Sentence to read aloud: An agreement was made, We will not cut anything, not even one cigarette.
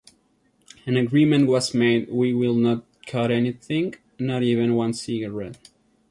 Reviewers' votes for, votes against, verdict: 3, 0, accepted